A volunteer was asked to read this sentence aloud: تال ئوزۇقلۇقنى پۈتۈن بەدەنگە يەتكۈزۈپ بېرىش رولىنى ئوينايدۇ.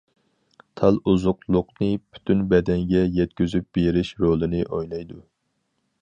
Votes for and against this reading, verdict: 4, 0, accepted